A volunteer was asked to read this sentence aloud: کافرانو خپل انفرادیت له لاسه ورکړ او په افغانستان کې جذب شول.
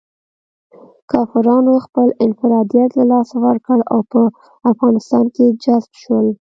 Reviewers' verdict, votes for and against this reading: rejected, 1, 2